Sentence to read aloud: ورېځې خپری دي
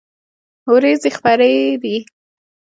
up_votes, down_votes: 2, 0